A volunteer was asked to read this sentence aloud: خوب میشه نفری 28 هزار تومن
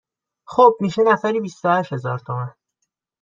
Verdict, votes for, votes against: rejected, 0, 2